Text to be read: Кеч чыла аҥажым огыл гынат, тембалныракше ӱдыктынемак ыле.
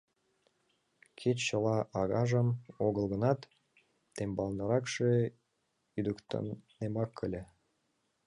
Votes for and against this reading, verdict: 0, 2, rejected